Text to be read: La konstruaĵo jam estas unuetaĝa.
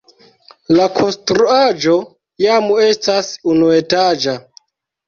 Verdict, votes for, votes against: accepted, 2, 0